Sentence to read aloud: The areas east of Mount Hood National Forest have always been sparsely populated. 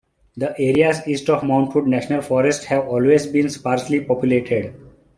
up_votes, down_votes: 0, 2